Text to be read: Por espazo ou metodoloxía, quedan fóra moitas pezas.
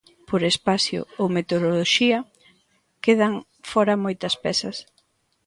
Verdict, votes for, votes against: rejected, 0, 2